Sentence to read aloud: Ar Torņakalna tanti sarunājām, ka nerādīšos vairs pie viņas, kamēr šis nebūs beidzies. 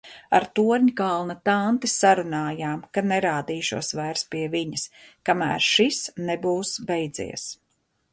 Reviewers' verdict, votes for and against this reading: accepted, 2, 0